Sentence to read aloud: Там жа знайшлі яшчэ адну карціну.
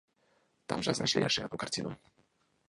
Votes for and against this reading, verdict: 0, 2, rejected